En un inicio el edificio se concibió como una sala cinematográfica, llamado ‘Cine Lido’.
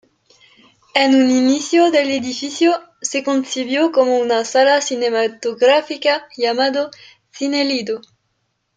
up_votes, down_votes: 0, 2